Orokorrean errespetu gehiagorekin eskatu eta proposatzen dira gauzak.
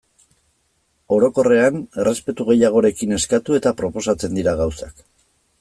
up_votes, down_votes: 2, 0